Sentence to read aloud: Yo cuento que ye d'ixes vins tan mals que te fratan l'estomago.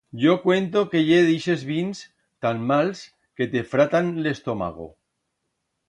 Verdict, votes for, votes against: rejected, 1, 2